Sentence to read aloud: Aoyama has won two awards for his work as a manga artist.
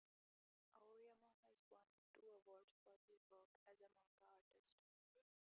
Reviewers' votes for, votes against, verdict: 0, 2, rejected